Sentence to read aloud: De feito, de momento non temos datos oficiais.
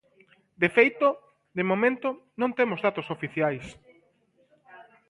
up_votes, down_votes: 2, 0